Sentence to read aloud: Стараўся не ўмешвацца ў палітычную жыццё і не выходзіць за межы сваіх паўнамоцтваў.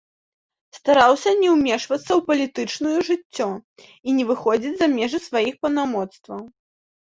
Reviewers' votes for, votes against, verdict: 2, 0, accepted